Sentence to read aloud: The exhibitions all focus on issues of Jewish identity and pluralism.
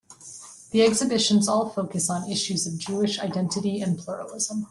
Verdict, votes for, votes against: accepted, 2, 0